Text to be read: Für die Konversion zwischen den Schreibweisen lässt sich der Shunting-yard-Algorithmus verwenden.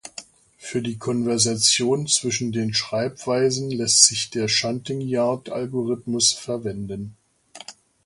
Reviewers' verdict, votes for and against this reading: rejected, 0, 2